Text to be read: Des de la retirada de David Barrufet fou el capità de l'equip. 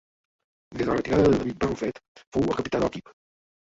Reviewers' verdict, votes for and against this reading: rejected, 0, 2